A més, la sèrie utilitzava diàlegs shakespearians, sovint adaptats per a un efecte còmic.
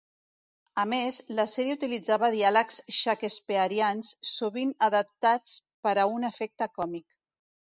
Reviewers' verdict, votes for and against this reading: rejected, 1, 2